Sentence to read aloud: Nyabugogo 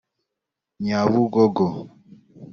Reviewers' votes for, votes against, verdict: 2, 0, accepted